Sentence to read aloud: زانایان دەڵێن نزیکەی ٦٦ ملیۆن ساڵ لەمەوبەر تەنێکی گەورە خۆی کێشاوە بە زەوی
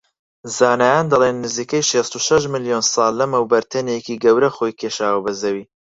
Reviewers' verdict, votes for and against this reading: rejected, 0, 2